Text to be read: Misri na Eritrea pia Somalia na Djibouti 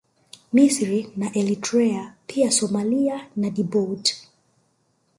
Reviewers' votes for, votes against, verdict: 1, 2, rejected